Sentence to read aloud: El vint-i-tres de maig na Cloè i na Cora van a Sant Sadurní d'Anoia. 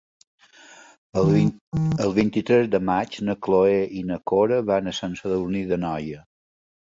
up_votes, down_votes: 0, 2